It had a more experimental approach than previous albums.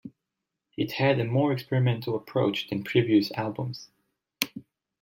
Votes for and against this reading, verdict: 2, 0, accepted